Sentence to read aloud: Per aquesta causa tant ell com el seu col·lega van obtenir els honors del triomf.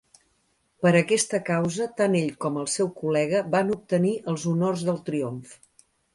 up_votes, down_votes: 3, 0